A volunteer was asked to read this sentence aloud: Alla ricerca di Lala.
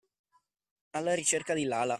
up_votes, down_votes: 2, 0